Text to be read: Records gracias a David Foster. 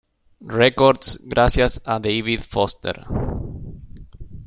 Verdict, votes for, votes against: accepted, 3, 0